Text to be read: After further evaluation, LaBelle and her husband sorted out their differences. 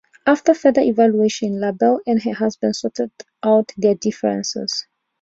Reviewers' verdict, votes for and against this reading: accepted, 2, 0